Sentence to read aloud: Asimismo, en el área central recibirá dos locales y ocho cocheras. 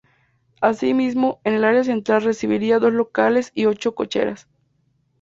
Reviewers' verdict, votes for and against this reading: rejected, 0, 2